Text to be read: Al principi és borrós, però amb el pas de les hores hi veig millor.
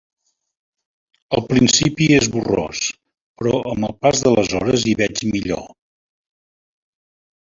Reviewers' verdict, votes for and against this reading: accepted, 2, 1